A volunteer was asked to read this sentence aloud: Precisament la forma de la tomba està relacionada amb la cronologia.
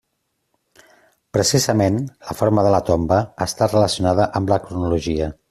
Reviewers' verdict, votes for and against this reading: accepted, 3, 0